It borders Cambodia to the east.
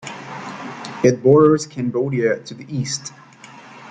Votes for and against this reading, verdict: 2, 0, accepted